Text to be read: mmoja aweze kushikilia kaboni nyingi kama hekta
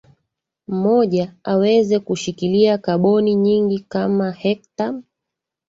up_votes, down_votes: 3, 1